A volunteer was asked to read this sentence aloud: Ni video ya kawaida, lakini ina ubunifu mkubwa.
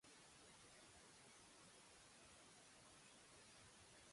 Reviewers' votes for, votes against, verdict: 0, 2, rejected